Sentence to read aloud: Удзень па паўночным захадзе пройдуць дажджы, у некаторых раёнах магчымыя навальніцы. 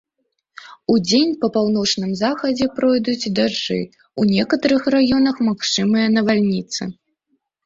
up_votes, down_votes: 2, 1